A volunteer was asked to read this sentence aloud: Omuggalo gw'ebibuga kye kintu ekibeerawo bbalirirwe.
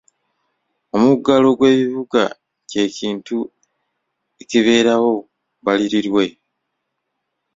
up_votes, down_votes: 2, 0